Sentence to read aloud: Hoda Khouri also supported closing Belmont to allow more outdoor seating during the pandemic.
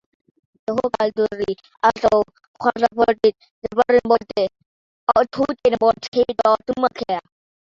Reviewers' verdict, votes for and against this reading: rejected, 1, 2